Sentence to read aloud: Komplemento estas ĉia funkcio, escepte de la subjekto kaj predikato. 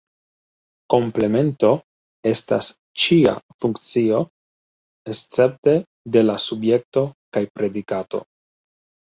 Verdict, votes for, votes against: accepted, 2, 1